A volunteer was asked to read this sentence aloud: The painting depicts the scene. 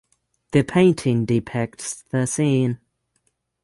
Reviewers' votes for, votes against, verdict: 0, 3, rejected